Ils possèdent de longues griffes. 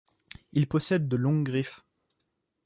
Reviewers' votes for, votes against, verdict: 2, 0, accepted